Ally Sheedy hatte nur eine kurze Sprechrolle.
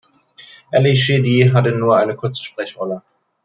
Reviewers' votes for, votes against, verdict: 2, 0, accepted